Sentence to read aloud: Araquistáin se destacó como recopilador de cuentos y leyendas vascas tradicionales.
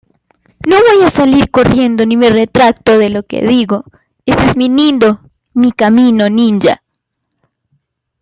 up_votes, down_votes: 0, 2